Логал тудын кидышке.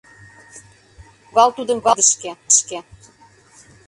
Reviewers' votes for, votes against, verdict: 0, 2, rejected